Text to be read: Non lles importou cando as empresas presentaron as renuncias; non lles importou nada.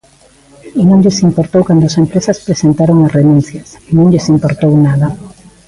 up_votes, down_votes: 2, 0